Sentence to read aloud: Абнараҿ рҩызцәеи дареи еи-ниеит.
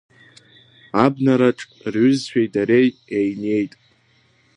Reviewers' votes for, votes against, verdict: 1, 2, rejected